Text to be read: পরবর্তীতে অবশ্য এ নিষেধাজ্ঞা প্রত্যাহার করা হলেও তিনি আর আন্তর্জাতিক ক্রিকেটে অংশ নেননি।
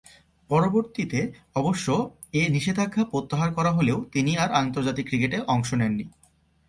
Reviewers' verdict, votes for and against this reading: accepted, 2, 0